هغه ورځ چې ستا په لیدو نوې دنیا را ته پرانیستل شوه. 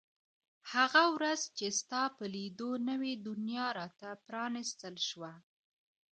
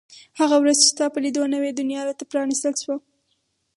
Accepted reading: first